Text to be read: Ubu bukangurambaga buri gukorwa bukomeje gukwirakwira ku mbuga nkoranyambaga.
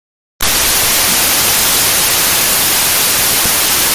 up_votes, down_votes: 0, 3